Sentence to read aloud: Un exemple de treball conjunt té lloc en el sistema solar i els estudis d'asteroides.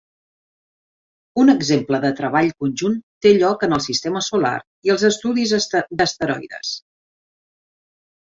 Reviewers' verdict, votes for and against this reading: rejected, 2, 3